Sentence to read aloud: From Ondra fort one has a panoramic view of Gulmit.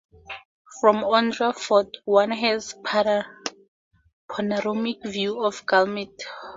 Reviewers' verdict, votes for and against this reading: rejected, 2, 2